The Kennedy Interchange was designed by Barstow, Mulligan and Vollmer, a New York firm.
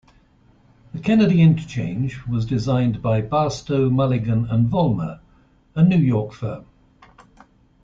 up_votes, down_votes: 2, 0